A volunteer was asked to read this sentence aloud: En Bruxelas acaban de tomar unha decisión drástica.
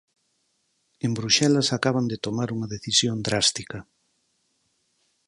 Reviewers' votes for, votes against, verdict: 4, 0, accepted